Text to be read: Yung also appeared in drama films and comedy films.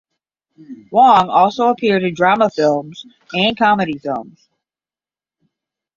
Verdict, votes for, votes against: accepted, 10, 0